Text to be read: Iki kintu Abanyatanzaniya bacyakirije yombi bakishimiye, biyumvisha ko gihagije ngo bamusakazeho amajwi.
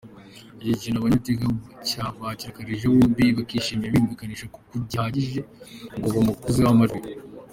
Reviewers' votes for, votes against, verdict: 0, 4, rejected